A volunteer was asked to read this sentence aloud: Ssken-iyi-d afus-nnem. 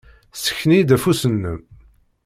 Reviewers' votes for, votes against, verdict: 2, 0, accepted